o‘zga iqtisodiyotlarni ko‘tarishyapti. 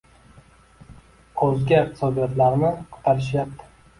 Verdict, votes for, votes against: rejected, 1, 2